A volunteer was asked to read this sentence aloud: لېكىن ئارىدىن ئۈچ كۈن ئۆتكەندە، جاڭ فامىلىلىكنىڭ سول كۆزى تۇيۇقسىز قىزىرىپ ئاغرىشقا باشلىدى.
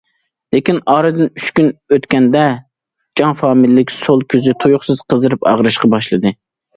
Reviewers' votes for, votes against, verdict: 0, 2, rejected